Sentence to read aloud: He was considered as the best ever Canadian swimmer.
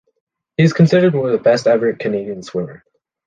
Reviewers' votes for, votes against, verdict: 1, 2, rejected